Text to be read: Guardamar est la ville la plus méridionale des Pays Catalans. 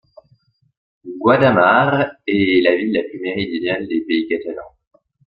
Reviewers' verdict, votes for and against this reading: rejected, 0, 2